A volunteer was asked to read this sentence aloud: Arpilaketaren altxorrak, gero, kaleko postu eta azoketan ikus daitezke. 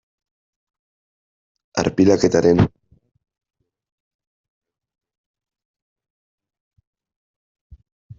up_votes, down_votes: 0, 2